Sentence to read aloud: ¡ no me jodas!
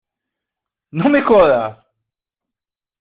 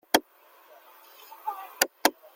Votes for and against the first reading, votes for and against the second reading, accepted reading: 2, 1, 0, 2, first